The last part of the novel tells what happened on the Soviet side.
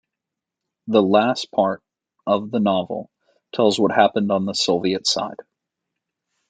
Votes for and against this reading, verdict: 2, 0, accepted